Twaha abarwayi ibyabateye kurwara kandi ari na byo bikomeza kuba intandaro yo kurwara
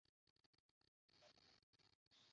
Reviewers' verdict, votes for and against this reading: rejected, 0, 2